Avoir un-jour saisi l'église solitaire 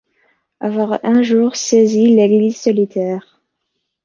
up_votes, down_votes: 2, 0